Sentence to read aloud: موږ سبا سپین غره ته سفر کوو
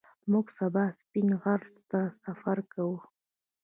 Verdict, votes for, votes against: rejected, 1, 2